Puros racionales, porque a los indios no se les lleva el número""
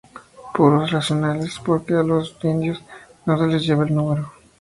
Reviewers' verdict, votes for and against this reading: accepted, 2, 0